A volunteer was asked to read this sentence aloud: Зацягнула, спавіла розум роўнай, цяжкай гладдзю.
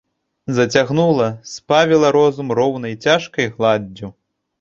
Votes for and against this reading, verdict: 2, 3, rejected